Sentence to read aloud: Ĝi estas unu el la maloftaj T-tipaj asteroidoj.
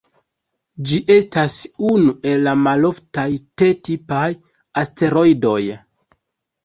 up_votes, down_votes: 0, 2